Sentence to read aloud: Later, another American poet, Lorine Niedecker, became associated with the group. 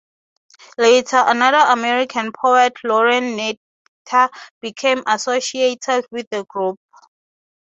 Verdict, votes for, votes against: accepted, 3, 0